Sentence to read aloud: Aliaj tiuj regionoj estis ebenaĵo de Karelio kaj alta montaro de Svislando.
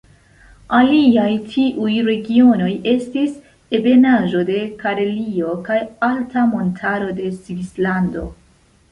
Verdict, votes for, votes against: accepted, 2, 0